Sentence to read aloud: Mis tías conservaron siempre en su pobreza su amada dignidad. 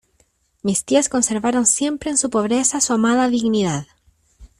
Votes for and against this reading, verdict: 2, 0, accepted